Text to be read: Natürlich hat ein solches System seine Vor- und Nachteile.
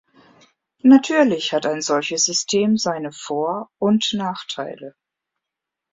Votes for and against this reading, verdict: 2, 0, accepted